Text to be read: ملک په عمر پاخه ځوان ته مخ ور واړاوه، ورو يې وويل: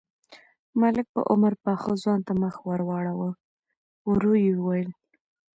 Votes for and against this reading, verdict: 2, 1, accepted